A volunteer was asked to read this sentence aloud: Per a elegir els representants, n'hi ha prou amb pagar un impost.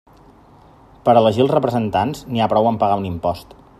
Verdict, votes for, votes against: accepted, 4, 0